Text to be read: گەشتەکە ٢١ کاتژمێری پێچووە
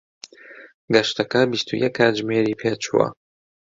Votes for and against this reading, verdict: 0, 2, rejected